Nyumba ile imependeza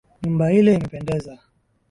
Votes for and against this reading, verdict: 3, 0, accepted